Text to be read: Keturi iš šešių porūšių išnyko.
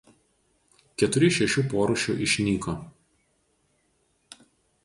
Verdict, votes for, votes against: rejected, 0, 2